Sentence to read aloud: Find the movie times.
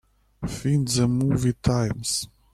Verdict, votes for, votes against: rejected, 1, 2